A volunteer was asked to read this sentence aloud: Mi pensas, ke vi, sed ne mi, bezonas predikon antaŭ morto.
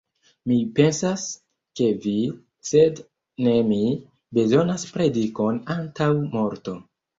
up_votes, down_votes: 2, 1